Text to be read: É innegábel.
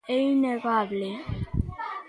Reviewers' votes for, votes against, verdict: 0, 2, rejected